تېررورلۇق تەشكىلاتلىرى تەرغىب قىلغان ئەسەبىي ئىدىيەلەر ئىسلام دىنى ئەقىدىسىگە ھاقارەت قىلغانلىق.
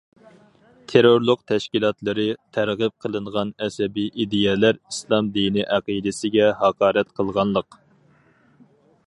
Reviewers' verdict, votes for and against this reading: rejected, 0, 4